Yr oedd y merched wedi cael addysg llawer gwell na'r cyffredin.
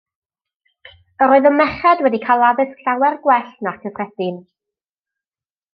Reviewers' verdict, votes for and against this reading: accepted, 2, 0